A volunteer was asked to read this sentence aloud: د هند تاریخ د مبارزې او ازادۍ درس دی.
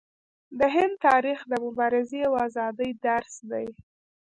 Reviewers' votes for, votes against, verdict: 1, 2, rejected